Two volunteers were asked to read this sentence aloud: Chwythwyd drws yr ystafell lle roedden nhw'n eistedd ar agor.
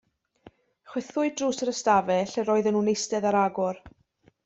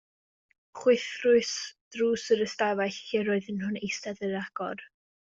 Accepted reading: first